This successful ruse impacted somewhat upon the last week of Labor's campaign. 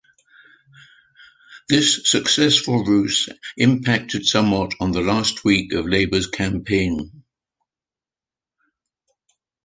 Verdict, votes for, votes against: rejected, 0, 2